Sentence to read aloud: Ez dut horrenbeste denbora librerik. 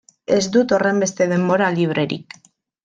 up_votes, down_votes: 2, 0